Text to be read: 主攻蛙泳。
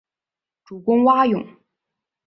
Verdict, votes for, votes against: rejected, 1, 2